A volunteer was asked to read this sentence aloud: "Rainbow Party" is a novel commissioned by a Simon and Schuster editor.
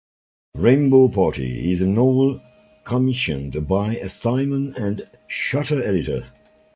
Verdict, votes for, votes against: accepted, 2, 0